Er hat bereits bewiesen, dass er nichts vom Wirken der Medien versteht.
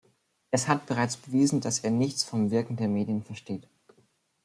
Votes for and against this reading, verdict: 0, 2, rejected